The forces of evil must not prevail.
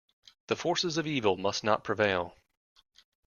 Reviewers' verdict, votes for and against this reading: accepted, 2, 0